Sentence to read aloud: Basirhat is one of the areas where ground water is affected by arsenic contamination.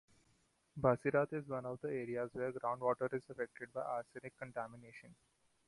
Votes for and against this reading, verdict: 2, 0, accepted